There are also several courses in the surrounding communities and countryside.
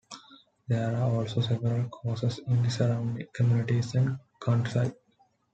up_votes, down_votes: 2, 0